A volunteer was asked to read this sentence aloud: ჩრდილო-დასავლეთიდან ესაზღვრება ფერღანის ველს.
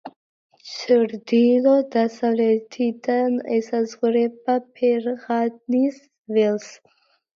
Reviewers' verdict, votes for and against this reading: accepted, 2, 0